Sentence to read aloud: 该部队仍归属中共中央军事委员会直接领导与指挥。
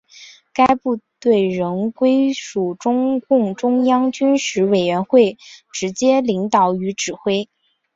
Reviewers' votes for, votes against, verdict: 3, 0, accepted